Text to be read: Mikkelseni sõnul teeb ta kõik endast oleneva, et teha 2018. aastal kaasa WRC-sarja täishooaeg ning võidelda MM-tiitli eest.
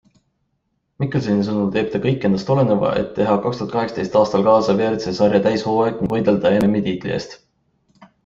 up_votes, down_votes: 0, 2